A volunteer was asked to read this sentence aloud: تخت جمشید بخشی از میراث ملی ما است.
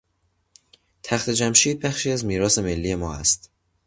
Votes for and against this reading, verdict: 2, 0, accepted